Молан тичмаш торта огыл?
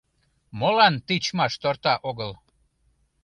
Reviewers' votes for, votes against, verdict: 2, 0, accepted